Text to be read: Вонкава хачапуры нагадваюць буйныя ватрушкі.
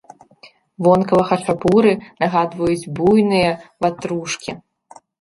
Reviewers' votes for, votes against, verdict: 1, 2, rejected